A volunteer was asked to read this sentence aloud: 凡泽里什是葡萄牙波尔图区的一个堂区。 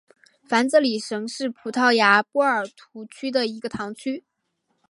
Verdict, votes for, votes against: accepted, 6, 1